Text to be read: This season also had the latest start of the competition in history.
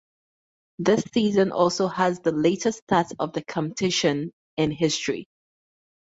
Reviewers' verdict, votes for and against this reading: rejected, 4, 4